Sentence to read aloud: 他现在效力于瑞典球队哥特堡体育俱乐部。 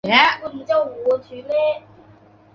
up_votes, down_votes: 0, 2